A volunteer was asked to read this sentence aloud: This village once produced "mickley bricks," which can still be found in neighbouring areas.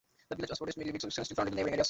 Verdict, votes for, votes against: rejected, 0, 2